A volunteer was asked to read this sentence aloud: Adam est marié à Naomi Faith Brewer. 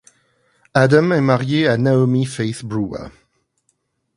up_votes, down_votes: 2, 0